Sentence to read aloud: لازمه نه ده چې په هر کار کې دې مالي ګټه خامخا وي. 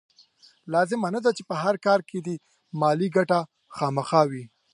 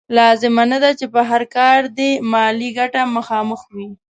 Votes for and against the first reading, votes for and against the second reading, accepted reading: 2, 0, 1, 2, first